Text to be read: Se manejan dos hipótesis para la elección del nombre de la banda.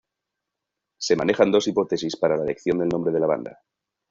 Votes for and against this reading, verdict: 2, 1, accepted